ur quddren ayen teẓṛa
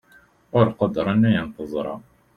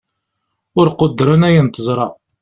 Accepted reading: second